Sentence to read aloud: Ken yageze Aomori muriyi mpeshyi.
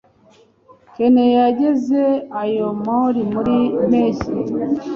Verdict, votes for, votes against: rejected, 0, 2